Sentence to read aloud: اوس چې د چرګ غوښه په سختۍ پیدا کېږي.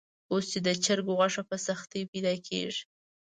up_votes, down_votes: 2, 0